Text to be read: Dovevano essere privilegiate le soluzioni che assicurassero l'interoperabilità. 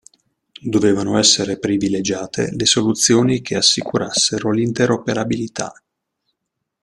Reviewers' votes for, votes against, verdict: 2, 0, accepted